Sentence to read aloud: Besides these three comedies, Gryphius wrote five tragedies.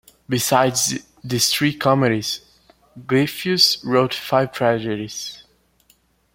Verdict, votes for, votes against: rejected, 0, 2